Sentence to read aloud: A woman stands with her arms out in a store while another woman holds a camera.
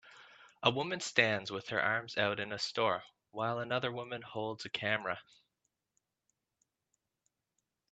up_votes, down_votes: 2, 0